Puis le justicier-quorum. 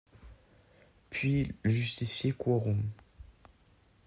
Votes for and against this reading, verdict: 0, 2, rejected